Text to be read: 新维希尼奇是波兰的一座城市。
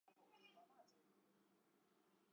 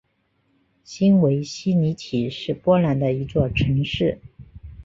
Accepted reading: second